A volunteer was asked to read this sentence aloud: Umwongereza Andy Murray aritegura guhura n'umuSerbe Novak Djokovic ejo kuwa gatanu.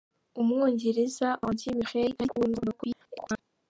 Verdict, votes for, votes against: rejected, 0, 3